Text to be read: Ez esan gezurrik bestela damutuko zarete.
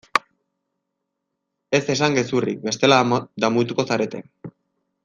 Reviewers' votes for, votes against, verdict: 0, 2, rejected